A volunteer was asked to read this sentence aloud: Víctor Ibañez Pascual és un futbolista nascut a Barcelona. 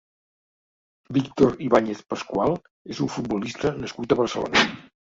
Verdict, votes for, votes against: accepted, 2, 0